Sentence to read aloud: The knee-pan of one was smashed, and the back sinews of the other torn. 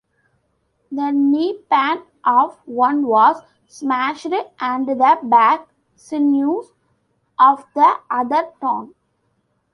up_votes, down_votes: 1, 2